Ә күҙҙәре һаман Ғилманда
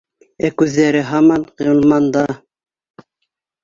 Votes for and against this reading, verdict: 2, 0, accepted